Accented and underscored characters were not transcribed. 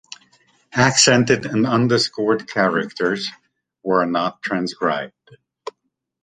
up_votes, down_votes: 2, 0